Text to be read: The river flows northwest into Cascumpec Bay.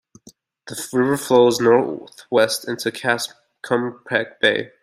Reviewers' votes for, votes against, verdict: 0, 2, rejected